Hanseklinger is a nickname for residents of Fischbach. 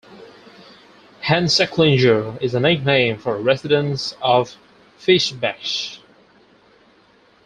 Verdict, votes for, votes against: accepted, 4, 2